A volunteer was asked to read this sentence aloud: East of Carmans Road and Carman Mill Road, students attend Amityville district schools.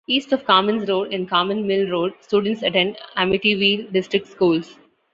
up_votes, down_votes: 2, 0